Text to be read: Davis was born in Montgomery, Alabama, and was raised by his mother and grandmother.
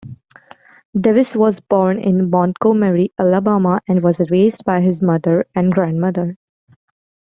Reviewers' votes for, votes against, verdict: 0, 2, rejected